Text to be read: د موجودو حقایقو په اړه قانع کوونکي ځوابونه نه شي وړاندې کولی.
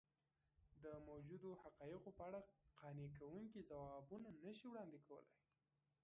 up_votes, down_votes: 0, 2